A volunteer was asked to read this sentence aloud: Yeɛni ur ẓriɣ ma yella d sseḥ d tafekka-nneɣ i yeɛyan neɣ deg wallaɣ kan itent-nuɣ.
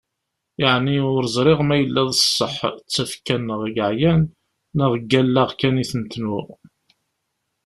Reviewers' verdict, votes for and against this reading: rejected, 1, 2